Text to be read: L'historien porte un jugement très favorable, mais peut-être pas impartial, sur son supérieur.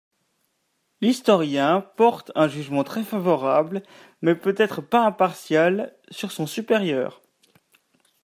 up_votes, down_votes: 3, 0